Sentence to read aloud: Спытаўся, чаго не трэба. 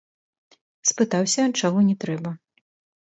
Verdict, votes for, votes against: accepted, 2, 1